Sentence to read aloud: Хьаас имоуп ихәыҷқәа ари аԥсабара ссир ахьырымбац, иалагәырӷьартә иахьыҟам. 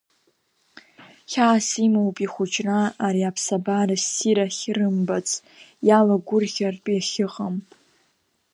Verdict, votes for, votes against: rejected, 2, 4